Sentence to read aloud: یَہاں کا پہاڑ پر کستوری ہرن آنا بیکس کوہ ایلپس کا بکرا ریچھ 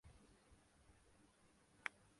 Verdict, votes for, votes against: rejected, 0, 2